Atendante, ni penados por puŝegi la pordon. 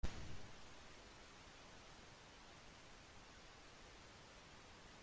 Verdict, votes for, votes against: rejected, 0, 2